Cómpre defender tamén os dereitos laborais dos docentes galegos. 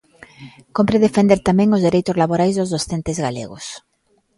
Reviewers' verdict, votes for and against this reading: rejected, 0, 2